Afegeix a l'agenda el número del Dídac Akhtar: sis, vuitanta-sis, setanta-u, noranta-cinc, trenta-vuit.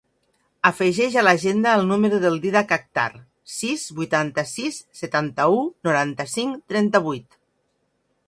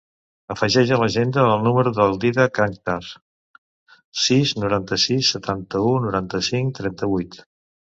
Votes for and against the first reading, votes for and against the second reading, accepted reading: 4, 0, 0, 2, first